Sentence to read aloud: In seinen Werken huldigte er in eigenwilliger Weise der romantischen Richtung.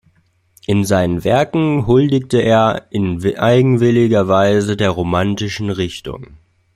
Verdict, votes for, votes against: rejected, 0, 2